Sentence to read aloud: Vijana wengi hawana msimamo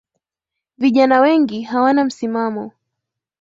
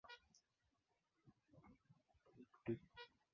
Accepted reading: first